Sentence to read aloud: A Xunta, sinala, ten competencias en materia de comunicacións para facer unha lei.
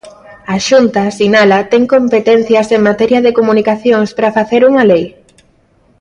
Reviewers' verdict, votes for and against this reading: accepted, 3, 0